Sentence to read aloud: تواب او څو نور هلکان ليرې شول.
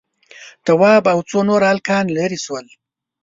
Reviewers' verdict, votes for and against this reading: accepted, 2, 1